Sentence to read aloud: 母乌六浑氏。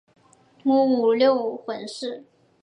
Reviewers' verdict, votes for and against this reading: rejected, 1, 3